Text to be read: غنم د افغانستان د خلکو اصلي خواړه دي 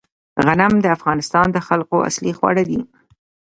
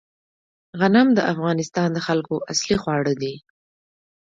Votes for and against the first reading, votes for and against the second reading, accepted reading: 1, 2, 2, 0, second